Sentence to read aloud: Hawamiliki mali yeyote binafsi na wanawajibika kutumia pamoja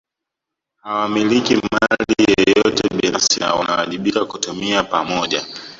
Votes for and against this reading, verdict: 0, 2, rejected